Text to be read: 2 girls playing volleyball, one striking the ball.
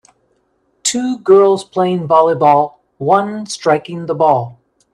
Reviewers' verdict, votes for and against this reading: rejected, 0, 2